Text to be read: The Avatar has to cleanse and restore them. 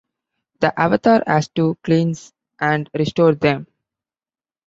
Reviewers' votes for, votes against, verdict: 2, 0, accepted